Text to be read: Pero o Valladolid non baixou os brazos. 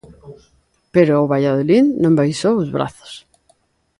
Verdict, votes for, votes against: accepted, 2, 0